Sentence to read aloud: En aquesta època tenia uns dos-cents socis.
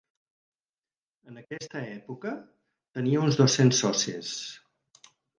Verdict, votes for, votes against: accepted, 6, 0